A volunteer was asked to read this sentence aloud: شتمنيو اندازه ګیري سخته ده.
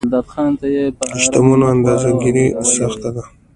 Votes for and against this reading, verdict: 1, 2, rejected